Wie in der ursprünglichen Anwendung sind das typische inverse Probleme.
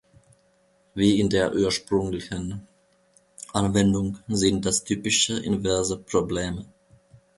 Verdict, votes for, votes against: rejected, 0, 2